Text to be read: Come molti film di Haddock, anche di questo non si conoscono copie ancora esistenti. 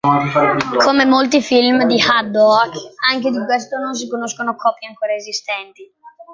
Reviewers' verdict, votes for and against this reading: rejected, 0, 2